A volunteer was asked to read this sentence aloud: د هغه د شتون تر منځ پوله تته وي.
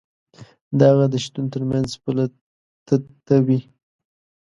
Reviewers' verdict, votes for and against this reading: rejected, 1, 2